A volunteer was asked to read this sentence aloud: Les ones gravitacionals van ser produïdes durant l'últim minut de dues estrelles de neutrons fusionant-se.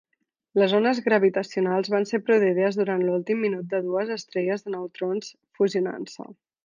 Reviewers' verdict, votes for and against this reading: rejected, 1, 2